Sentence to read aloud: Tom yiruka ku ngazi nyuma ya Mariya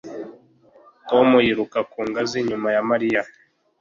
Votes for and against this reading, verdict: 2, 0, accepted